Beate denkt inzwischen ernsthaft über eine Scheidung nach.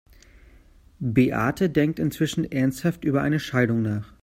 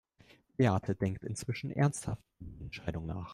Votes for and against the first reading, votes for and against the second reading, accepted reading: 2, 0, 0, 2, first